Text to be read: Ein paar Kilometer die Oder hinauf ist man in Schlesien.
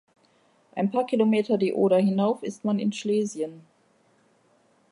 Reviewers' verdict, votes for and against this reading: accepted, 3, 0